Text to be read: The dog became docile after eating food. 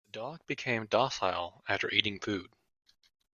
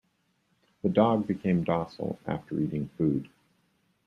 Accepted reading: second